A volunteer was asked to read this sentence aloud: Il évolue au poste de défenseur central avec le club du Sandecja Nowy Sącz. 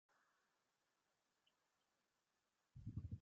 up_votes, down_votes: 0, 2